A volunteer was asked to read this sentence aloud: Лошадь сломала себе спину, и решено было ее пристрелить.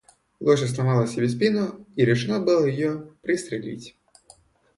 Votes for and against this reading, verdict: 2, 0, accepted